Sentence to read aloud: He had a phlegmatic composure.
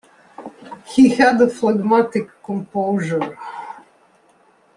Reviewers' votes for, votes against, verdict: 2, 0, accepted